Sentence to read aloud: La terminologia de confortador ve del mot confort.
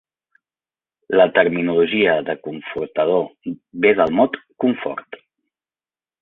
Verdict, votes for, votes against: accepted, 4, 0